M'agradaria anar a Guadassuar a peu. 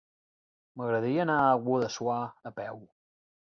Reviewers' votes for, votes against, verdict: 1, 2, rejected